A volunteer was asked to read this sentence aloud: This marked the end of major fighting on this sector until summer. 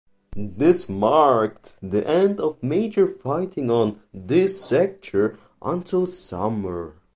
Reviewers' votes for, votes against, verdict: 0, 2, rejected